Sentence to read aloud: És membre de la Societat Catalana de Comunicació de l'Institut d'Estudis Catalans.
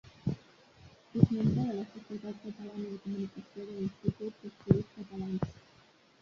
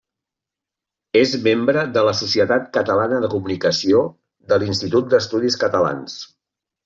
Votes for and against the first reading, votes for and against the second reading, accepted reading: 1, 2, 3, 0, second